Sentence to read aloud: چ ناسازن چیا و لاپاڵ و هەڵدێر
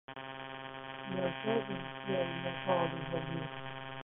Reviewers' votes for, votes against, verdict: 0, 2, rejected